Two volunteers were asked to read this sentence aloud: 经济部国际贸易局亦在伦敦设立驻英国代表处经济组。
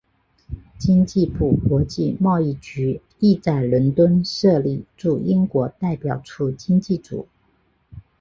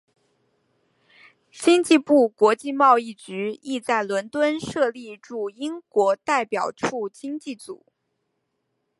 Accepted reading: second